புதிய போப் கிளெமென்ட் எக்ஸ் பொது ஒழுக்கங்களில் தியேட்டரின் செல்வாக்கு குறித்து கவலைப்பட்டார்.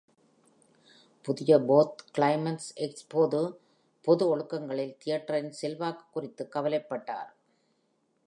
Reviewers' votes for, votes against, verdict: 1, 2, rejected